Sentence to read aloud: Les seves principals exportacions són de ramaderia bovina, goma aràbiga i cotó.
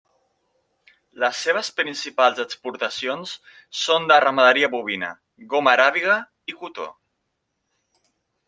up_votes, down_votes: 2, 0